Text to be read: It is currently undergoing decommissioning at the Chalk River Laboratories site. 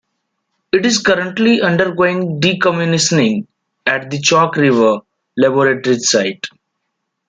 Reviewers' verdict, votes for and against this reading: rejected, 1, 2